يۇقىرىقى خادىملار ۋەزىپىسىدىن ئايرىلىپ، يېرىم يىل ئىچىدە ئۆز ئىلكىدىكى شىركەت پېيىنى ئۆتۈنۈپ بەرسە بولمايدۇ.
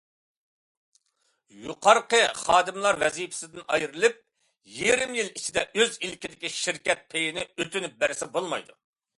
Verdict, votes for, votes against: rejected, 1, 2